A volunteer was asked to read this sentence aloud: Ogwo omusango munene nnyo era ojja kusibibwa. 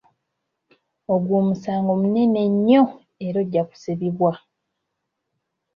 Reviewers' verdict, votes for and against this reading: accepted, 2, 1